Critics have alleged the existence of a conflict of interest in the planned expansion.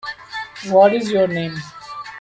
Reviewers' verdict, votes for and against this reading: rejected, 0, 2